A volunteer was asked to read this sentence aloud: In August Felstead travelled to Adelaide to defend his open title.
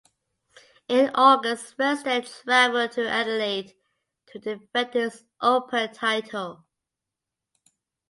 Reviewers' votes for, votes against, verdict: 1, 3, rejected